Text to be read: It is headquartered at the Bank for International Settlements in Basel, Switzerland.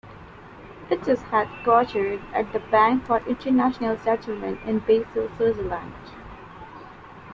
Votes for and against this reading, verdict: 2, 0, accepted